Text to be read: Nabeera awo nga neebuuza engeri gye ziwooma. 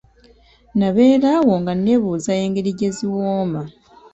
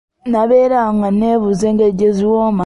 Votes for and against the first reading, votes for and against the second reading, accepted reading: 2, 3, 2, 0, second